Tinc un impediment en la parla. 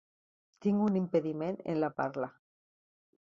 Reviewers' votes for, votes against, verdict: 3, 0, accepted